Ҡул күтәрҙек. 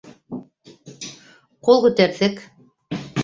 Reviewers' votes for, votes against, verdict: 1, 2, rejected